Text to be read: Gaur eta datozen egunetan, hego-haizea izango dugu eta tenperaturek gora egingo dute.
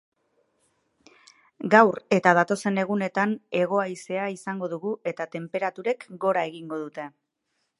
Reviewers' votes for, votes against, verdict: 4, 0, accepted